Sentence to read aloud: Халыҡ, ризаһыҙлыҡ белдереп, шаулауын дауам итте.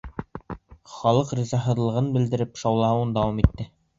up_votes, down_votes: 2, 0